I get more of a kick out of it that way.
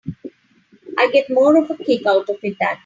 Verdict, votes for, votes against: rejected, 0, 3